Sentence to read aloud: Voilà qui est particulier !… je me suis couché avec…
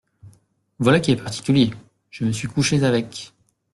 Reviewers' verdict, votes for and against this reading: rejected, 0, 2